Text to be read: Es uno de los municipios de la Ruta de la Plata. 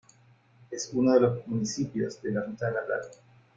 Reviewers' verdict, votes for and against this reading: rejected, 1, 2